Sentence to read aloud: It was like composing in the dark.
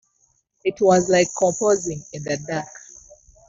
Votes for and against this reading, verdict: 0, 2, rejected